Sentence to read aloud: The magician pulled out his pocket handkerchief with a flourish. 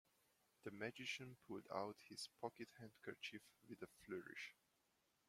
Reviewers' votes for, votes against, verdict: 0, 2, rejected